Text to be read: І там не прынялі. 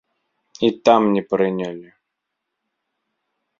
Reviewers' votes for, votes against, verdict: 2, 0, accepted